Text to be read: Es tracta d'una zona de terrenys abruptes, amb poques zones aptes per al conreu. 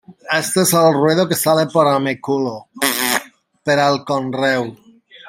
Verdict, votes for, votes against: rejected, 0, 2